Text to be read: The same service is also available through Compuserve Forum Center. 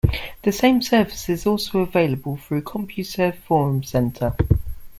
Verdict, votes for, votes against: accepted, 2, 0